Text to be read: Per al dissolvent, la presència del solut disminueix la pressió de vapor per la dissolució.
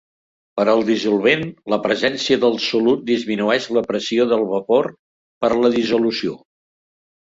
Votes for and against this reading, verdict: 2, 1, accepted